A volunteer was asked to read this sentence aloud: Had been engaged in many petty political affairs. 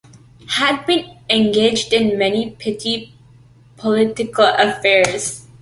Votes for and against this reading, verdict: 2, 0, accepted